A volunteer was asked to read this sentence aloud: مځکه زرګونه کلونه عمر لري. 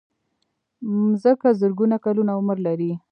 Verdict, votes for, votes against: accepted, 4, 0